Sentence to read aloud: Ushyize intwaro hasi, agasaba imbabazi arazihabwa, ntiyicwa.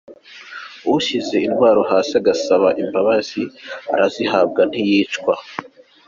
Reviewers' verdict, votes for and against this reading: accepted, 2, 0